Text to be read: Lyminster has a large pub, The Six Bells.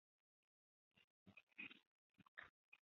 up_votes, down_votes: 0, 2